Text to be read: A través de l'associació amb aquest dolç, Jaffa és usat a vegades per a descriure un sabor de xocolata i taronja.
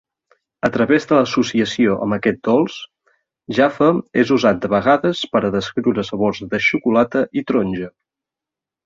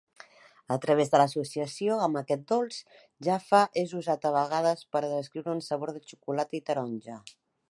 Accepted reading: second